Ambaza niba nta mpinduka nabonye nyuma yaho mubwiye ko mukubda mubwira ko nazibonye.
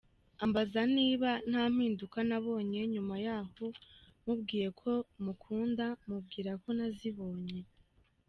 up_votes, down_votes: 2, 0